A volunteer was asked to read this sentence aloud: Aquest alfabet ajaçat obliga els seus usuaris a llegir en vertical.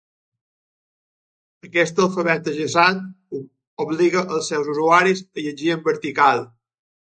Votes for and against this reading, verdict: 2, 0, accepted